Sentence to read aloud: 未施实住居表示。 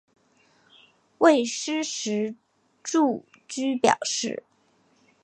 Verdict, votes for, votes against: accepted, 3, 0